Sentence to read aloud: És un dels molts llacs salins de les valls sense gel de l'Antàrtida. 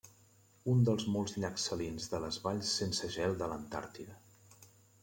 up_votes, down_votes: 0, 2